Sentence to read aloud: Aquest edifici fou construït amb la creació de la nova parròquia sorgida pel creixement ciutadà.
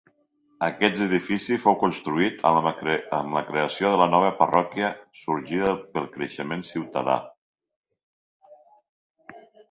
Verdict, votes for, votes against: rejected, 1, 2